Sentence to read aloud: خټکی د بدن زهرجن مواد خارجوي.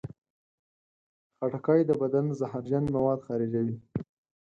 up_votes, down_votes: 4, 0